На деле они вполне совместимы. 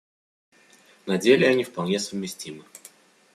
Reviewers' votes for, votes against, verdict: 2, 0, accepted